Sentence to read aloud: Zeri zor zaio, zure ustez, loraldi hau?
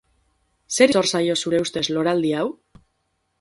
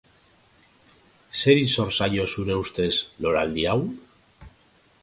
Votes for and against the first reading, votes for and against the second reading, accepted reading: 0, 4, 3, 0, second